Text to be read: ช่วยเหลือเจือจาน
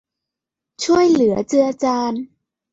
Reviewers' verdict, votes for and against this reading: accepted, 2, 0